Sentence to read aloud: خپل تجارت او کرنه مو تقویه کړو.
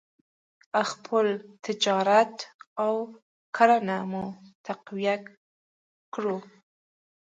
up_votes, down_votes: 2, 0